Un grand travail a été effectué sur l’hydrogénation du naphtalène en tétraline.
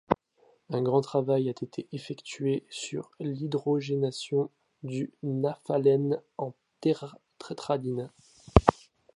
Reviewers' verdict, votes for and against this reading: rejected, 0, 2